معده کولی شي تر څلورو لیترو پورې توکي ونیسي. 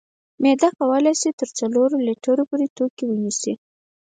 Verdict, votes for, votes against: rejected, 2, 4